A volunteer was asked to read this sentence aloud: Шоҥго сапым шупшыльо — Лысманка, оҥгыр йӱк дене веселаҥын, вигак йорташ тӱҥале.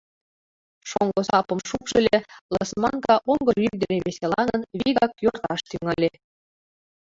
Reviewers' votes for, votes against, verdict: 0, 3, rejected